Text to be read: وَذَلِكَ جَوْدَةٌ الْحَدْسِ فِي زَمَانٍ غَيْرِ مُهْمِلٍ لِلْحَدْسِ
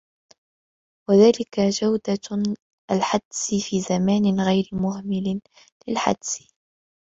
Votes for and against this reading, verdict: 0, 2, rejected